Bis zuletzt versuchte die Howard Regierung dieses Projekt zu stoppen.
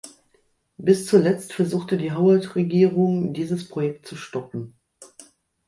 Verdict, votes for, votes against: accepted, 2, 0